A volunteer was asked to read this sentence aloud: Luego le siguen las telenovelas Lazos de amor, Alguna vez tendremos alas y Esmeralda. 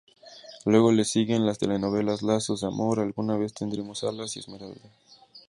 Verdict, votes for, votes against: accepted, 2, 0